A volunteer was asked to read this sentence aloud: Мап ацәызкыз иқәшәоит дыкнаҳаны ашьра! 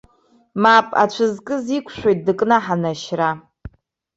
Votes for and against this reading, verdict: 1, 2, rejected